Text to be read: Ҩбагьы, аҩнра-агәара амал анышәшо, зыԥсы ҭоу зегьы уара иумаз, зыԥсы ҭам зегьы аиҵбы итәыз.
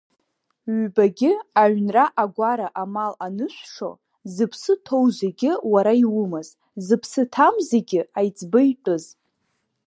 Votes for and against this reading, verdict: 2, 0, accepted